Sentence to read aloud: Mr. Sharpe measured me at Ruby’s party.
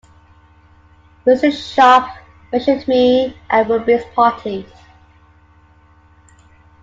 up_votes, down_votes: 2, 0